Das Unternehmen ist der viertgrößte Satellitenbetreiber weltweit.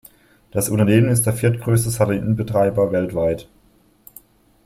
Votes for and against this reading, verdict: 2, 1, accepted